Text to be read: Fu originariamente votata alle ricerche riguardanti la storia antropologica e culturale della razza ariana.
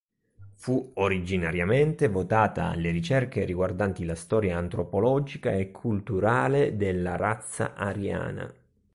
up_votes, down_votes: 2, 0